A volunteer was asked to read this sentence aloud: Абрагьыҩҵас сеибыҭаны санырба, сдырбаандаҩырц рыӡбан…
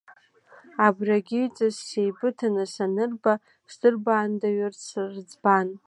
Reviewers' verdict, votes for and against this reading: rejected, 0, 2